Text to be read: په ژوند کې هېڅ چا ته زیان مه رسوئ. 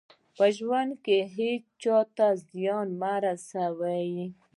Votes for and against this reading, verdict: 2, 0, accepted